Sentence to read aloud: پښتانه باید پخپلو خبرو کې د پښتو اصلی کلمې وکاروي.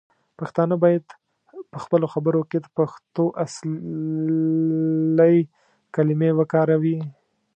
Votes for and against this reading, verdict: 0, 2, rejected